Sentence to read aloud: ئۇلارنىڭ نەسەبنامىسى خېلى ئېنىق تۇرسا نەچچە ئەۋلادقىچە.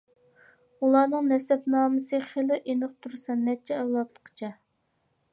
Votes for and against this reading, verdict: 2, 0, accepted